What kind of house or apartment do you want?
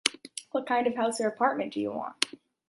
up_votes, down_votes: 2, 0